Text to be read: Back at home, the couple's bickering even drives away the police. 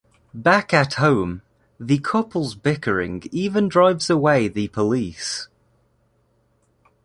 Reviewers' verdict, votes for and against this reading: accepted, 2, 0